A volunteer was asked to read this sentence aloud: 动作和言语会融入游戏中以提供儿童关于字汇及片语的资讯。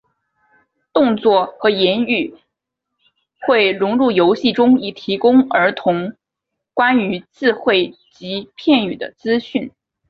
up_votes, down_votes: 3, 0